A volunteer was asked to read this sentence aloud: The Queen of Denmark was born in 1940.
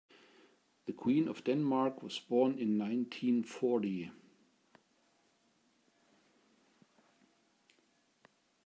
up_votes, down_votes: 0, 2